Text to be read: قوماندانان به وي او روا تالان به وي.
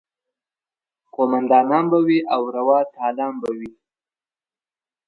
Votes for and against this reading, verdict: 2, 0, accepted